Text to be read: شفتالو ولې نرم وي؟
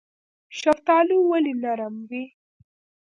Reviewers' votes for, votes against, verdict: 0, 2, rejected